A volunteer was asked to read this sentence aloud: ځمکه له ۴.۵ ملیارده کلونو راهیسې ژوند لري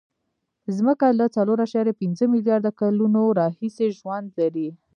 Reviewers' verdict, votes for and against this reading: rejected, 0, 2